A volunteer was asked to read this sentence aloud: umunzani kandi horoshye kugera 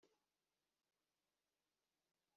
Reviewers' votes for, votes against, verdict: 0, 3, rejected